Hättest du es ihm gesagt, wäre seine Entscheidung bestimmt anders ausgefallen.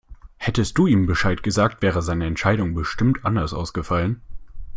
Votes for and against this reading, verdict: 0, 2, rejected